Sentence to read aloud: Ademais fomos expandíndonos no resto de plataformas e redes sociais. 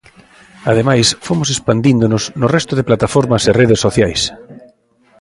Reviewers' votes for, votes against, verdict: 2, 0, accepted